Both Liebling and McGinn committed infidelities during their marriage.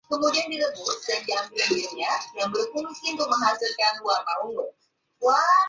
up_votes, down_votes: 0, 2